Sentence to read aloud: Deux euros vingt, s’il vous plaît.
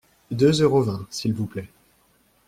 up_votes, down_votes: 2, 0